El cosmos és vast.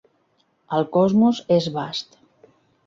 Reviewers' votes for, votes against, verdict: 3, 1, accepted